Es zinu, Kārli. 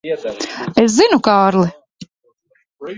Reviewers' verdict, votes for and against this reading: rejected, 0, 2